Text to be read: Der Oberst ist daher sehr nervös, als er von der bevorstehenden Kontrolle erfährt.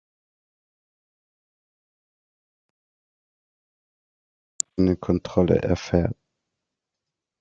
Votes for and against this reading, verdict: 0, 2, rejected